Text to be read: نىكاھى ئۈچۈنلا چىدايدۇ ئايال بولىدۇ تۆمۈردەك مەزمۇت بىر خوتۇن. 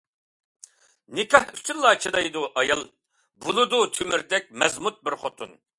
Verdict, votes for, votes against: accepted, 2, 0